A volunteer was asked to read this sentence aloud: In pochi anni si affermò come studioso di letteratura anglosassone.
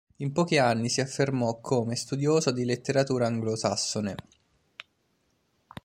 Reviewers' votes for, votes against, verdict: 2, 0, accepted